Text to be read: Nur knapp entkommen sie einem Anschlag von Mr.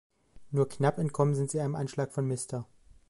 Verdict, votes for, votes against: rejected, 1, 2